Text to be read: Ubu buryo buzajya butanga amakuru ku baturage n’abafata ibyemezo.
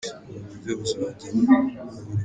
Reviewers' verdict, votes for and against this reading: rejected, 0, 2